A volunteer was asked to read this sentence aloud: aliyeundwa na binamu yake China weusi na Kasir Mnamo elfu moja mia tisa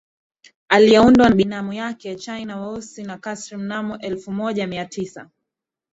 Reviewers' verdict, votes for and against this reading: accepted, 2, 0